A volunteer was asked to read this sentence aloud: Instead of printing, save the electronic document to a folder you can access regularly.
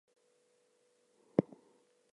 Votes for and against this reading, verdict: 0, 4, rejected